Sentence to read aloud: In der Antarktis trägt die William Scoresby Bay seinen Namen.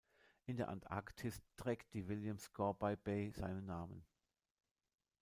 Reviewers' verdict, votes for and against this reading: rejected, 0, 2